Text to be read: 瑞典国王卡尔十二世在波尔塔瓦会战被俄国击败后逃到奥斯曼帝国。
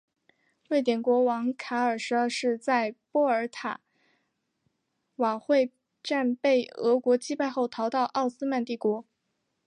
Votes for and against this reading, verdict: 2, 1, accepted